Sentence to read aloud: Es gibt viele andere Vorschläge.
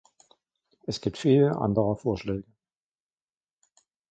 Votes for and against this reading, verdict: 2, 0, accepted